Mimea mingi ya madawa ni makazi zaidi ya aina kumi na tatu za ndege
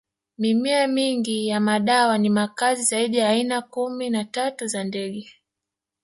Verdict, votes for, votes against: rejected, 1, 2